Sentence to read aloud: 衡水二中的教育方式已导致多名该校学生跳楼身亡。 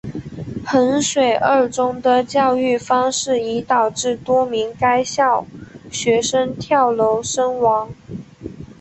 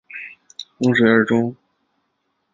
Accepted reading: first